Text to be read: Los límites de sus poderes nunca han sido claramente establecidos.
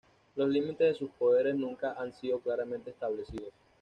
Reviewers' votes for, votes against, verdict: 2, 0, accepted